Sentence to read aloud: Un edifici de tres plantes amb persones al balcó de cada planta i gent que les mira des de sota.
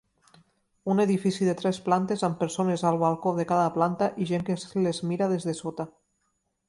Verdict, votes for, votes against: rejected, 1, 2